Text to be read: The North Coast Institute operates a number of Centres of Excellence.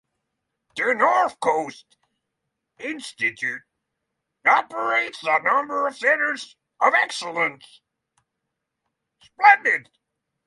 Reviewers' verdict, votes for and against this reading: rejected, 0, 6